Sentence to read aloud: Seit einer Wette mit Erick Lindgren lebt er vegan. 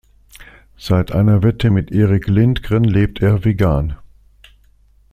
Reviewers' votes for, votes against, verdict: 2, 0, accepted